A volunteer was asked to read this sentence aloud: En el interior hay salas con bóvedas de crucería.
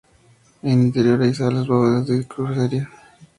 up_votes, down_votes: 0, 2